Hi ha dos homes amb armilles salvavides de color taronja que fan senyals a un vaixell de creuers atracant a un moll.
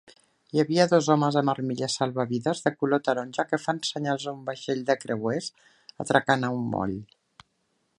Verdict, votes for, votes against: rejected, 0, 2